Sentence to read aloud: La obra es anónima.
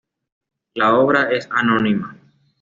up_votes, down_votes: 2, 0